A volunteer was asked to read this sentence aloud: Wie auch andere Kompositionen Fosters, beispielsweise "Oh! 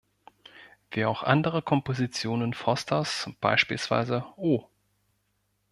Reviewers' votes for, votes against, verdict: 1, 2, rejected